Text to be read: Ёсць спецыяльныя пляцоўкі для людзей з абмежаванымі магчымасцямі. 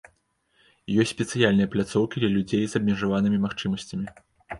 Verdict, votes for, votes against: accepted, 2, 0